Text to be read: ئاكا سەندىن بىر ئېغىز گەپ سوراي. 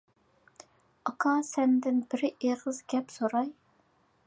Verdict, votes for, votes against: accepted, 2, 0